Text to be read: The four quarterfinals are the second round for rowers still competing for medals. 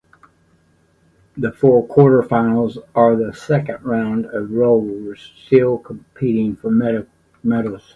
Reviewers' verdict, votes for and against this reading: rejected, 1, 2